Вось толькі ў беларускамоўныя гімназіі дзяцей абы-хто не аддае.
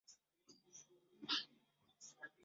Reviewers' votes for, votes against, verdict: 0, 2, rejected